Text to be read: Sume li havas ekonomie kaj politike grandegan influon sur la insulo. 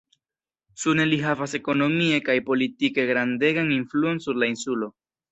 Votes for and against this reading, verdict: 1, 2, rejected